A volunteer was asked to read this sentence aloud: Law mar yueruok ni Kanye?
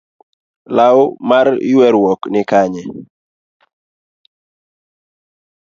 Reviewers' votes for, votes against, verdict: 2, 0, accepted